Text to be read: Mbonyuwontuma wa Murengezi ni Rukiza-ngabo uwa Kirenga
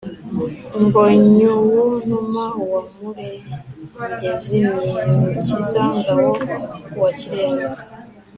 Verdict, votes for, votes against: accepted, 3, 0